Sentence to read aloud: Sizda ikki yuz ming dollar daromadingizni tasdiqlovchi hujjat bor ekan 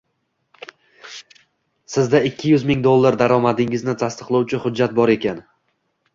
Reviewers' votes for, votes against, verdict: 2, 0, accepted